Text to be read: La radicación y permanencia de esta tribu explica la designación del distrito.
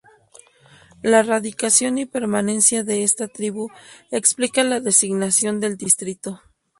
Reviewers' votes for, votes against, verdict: 2, 0, accepted